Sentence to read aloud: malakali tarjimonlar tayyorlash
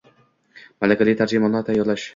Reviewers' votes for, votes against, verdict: 2, 0, accepted